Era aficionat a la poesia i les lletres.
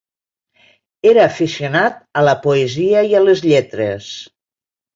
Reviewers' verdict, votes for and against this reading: rejected, 1, 3